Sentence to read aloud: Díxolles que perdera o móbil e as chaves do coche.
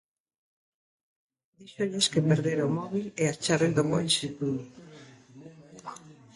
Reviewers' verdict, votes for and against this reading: rejected, 1, 2